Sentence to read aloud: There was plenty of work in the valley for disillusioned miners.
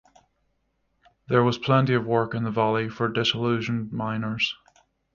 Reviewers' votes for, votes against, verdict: 6, 0, accepted